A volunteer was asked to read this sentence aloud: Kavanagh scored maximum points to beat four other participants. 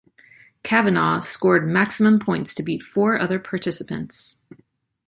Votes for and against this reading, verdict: 2, 0, accepted